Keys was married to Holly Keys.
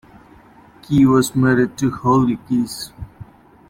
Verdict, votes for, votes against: rejected, 0, 2